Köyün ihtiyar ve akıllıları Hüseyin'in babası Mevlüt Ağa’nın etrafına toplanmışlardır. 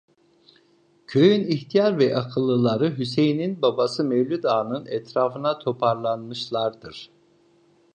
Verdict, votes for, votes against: rejected, 0, 2